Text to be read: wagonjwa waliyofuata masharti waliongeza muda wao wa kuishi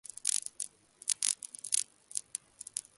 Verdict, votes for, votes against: rejected, 1, 2